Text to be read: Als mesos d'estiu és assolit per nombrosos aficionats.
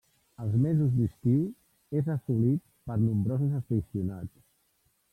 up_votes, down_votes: 1, 2